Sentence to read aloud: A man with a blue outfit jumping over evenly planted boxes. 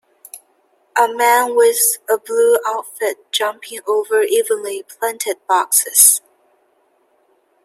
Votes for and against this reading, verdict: 2, 0, accepted